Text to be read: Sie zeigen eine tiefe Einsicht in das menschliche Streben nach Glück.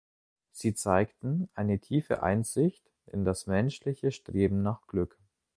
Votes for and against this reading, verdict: 1, 2, rejected